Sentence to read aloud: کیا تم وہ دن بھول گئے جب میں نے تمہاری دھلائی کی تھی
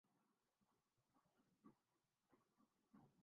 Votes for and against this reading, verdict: 0, 2, rejected